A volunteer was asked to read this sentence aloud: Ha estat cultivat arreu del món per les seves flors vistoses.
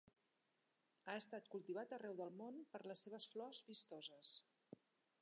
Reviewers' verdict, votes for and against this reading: accepted, 2, 1